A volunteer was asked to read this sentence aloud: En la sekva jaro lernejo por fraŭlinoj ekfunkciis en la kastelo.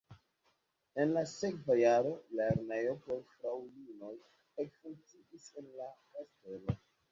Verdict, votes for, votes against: rejected, 0, 2